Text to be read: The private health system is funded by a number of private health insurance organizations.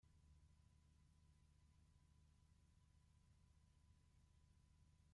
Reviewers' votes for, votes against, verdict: 0, 2, rejected